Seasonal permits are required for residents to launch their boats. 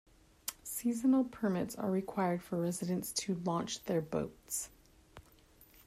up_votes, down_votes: 2, 0